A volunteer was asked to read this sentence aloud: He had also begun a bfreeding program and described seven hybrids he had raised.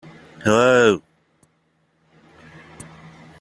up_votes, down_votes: 0, 2